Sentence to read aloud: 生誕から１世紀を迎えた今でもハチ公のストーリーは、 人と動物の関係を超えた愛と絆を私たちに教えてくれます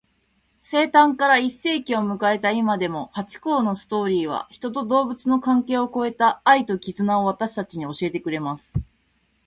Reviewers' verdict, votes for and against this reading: rejected, 0, 2